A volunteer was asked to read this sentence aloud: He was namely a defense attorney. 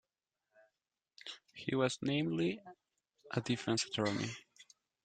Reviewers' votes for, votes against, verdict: 2, 0, accepted